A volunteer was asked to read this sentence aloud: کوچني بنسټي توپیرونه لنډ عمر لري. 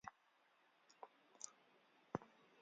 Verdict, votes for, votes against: rejected, 1, 2